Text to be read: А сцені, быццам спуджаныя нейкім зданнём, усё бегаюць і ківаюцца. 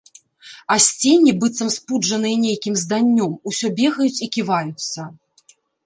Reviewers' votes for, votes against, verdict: 2, 0, accepted